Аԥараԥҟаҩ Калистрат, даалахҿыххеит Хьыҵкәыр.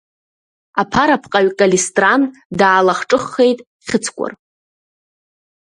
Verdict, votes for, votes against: rejected, 0, 2